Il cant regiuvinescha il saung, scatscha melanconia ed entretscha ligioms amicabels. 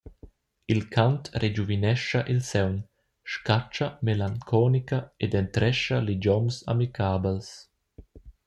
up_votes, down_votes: 0, 2